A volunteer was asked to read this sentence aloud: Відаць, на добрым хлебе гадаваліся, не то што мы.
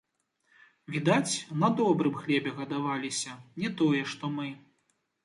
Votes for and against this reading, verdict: 1, 2, rejected